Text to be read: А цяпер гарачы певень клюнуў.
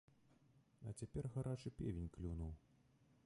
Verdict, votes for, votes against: rejected, 1, 2